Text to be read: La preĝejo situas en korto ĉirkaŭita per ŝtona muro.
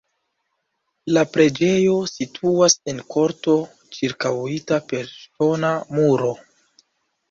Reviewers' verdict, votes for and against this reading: rejected, 0, 2